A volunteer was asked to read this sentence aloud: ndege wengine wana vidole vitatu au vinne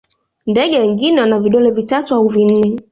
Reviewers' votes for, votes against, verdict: 2, 0, accepted